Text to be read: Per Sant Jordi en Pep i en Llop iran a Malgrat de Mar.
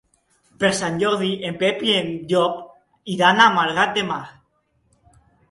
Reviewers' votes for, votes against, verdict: 1, 2, rejected